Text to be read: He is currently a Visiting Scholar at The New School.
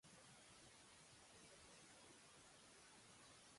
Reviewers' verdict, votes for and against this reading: rejected, 0, 2